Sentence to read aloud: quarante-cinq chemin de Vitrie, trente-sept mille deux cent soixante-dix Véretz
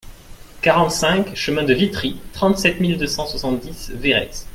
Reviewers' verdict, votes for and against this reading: accepted, 2, 0